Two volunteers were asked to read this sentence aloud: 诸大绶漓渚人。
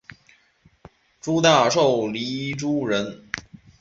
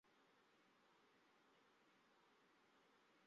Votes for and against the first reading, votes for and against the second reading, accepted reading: 4, 1, 0, 2, first